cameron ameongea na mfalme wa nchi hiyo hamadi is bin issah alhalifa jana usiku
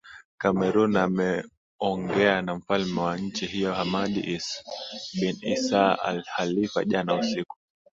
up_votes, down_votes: 8, 0